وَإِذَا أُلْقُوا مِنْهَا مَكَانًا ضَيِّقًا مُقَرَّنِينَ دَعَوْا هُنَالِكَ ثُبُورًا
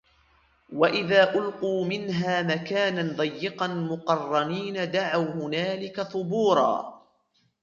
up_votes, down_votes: 1, 2